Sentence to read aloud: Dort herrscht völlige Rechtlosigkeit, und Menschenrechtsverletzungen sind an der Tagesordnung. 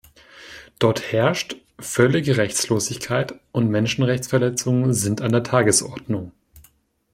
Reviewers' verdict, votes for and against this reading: accepted, 2, 1